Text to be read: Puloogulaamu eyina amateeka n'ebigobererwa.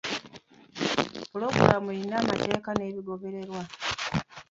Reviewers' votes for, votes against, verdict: 2, 1, accepted